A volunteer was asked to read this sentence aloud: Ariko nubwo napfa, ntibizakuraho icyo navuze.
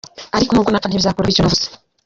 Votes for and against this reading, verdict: 0, 2, rejected